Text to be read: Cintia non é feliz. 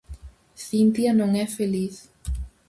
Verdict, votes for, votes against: accepted, 4, 0